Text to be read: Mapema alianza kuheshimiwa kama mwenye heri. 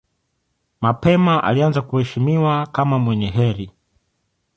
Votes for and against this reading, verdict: 2, 0, accepted